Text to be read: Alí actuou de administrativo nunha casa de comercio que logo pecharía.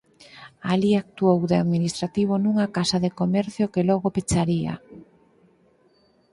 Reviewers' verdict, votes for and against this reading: accepted, 6, 0